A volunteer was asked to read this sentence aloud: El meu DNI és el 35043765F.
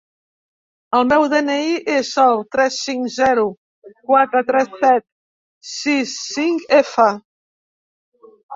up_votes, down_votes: 0, 2